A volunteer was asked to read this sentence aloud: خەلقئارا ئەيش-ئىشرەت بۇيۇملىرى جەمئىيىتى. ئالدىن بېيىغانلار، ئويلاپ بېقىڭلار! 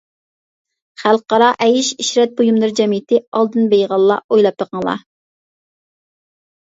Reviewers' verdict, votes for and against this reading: accepted, 2, 0